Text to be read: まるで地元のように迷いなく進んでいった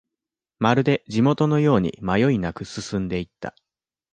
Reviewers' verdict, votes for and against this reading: accepted, 2, 1